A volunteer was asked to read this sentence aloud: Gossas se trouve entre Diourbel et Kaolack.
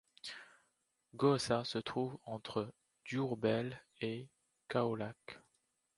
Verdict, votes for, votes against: accepted, 2, 0